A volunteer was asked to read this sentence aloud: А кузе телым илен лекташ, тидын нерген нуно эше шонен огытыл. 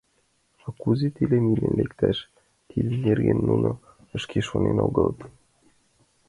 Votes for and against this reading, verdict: 1, 2, rejected